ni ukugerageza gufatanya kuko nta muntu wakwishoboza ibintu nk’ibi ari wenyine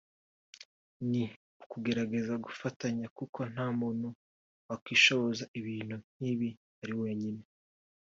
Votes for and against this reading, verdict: 2, 0, accepted